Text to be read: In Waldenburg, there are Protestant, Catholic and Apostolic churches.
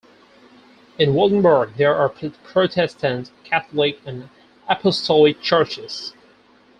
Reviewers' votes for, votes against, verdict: 0, 4, rejected